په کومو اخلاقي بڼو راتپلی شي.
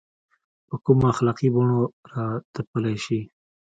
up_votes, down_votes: 2, 0